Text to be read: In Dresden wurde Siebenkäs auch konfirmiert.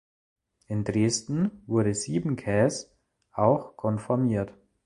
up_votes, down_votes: 0, 2